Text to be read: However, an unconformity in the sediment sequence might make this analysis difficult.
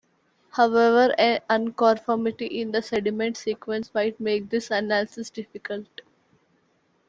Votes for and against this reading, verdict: 1, 2, rejected